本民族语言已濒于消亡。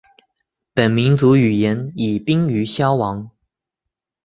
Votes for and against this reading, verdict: 6, 0, accepted